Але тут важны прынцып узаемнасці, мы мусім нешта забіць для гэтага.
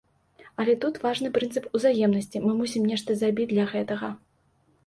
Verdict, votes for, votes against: accepted, 2, 0